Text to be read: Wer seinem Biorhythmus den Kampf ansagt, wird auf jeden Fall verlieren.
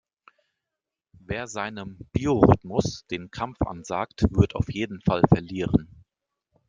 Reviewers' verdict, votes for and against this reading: accepted, 2, 0